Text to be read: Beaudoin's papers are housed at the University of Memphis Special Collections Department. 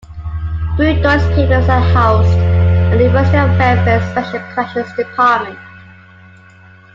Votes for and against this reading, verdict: 0, 2, rejected